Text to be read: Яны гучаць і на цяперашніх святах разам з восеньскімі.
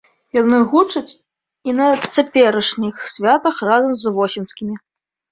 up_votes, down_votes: 0, 2